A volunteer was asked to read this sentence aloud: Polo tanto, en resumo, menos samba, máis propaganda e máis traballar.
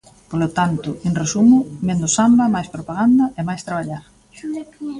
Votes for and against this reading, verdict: 2, 1, accepted